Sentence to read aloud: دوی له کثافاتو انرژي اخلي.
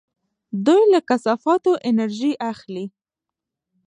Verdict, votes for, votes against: accepted, 2, 0